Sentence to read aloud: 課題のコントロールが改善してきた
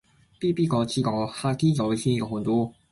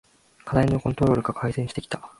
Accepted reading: second